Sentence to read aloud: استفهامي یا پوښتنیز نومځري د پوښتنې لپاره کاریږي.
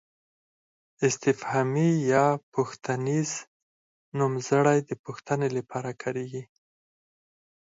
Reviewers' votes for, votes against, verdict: 4, 2, accepted